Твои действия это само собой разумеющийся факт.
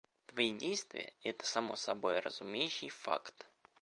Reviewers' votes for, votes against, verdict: 1, 2, rejected